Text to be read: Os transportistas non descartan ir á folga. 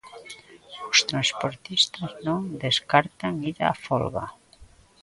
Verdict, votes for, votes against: accepted, 2, 0